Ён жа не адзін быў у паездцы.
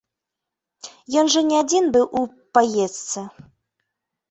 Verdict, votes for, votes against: accepted, 2, 1